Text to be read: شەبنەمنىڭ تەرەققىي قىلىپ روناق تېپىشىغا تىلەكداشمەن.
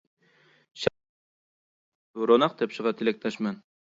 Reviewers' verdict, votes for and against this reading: rejected, 0, 2